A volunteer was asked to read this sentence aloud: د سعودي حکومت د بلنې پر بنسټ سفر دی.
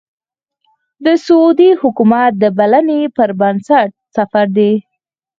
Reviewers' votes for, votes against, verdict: 4, 0, accepted